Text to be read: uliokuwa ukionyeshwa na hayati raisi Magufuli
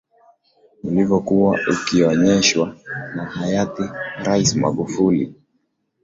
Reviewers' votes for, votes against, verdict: 4, 1, accepted